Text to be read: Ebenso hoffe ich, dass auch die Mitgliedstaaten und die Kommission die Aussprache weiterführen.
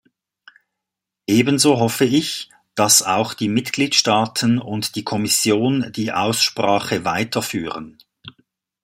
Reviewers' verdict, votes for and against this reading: accepted, 2, 0